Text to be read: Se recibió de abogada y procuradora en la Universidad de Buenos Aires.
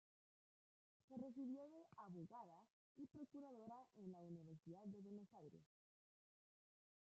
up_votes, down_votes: 0, 2